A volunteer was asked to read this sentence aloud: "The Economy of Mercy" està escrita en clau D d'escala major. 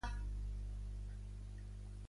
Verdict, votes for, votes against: rejected, 0, 2